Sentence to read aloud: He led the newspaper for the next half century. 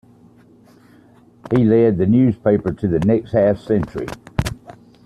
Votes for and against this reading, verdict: 2, 1, accepted